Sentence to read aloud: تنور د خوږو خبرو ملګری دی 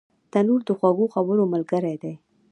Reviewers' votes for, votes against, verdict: 2, 0, accepted